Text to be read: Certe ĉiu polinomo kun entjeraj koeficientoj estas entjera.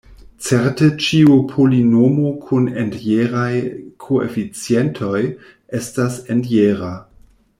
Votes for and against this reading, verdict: 2, 0, accepted